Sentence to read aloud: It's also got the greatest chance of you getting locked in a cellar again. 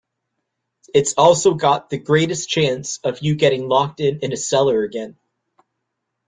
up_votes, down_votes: 1, 2